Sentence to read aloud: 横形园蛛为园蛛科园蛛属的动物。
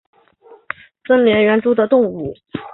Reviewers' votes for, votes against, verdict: 1, 5, rejected